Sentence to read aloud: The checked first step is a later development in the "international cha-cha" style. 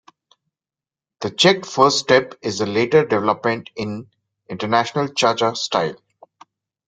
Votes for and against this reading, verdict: 0, 2, rejected